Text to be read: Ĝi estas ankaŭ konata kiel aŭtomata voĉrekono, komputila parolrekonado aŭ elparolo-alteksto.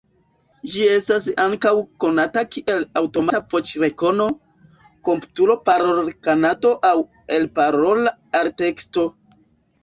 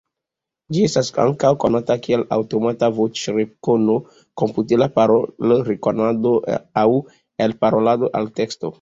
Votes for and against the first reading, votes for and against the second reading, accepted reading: 0, 2, 2, 0, second